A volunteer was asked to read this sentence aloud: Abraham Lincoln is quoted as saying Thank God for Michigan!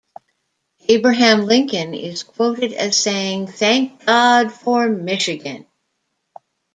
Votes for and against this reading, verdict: 2, 0, accepted